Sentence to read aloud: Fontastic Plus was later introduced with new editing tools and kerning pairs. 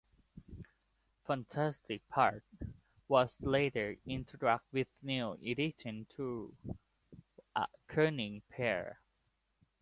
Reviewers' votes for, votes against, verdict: 1, 2, rejected